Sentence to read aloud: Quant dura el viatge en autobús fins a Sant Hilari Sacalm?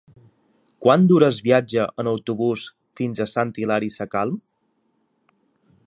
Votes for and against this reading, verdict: 2, 1, accepted